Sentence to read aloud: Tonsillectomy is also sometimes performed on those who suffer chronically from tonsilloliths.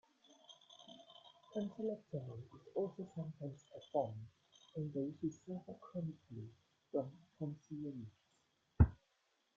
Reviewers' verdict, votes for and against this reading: accepted, 2, 1